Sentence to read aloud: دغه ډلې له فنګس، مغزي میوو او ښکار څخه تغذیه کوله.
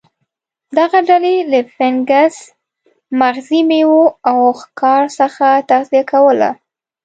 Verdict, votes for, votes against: accepted, 2, 0